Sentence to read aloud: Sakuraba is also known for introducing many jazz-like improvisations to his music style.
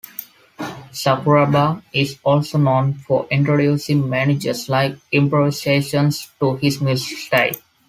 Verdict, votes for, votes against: accepted, 2, 0